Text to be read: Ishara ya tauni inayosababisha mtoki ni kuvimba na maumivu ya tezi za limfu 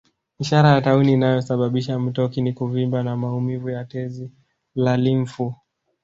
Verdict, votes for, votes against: accepted, 2, 1